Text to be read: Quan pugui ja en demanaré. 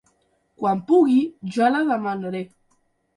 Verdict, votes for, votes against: rejected, 0, 2